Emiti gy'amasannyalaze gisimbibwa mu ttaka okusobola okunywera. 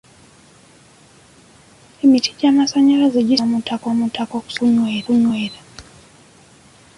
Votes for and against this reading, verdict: 0, 2, rejected